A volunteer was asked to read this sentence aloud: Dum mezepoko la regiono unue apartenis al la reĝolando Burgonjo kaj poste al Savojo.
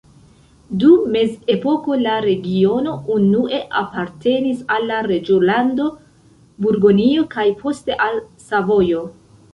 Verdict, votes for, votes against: rejected, 1, 2